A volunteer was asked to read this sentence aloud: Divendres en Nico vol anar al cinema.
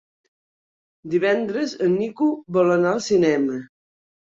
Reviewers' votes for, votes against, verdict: 3, 0, accepted